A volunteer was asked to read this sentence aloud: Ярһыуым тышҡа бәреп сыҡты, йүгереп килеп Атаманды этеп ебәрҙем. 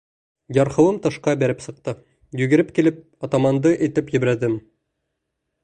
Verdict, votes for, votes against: rejected, 1, 2